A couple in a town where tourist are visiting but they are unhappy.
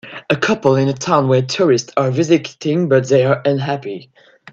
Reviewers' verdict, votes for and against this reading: rejected, 1, 2